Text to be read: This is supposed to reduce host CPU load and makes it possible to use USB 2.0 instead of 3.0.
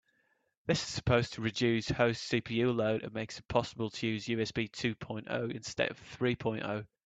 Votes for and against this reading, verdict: 0, 2, rejected